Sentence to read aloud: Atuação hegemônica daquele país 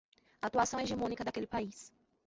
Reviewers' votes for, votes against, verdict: 0, 2, rejected